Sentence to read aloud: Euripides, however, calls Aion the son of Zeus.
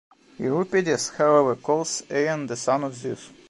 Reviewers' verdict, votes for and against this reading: accepted, 2, 1